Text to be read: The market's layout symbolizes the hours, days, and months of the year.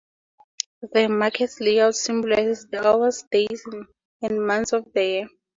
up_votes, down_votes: 2, 0